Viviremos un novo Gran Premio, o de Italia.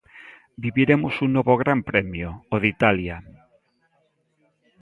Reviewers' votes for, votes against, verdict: 1, 2, rejected